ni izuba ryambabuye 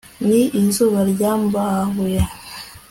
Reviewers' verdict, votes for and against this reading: accepted, 2, 0